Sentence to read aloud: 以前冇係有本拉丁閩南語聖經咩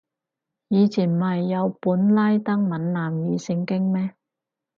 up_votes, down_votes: 2, 4